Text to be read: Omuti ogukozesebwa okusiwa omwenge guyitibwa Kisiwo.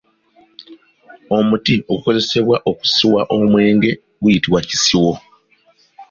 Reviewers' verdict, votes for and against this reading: accepted, 2, 0